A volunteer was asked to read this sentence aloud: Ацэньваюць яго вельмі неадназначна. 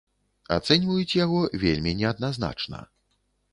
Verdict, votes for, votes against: accepted, 2, 0